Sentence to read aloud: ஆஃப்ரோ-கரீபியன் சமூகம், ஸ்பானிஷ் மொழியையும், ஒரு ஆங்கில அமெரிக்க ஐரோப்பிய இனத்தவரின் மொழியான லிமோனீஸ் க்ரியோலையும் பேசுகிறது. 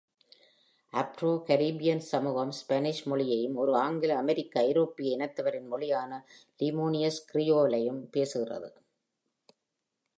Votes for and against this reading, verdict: 2, 0, accepted